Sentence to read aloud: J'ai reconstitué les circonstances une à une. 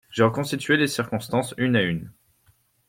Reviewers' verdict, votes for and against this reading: accepted, 2, 0